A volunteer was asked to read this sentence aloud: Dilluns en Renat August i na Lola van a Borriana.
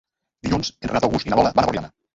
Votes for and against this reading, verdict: 0, 2, rejected